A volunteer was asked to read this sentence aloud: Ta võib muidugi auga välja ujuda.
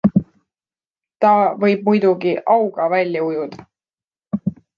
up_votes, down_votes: 2, 0